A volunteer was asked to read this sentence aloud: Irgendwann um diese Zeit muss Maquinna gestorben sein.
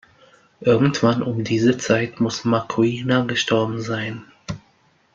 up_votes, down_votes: 1, 2